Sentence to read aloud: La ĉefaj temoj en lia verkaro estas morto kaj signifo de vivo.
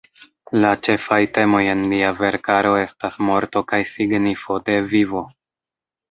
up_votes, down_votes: 3, 1